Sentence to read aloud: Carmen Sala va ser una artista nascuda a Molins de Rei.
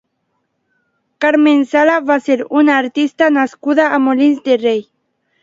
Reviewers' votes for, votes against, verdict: 2, 0, accepted